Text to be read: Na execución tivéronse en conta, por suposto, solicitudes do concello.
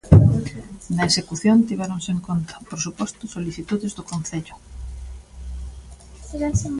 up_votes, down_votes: 0, 2